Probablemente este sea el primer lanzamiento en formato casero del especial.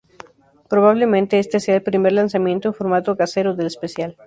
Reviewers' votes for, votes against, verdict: 0, 2, rejected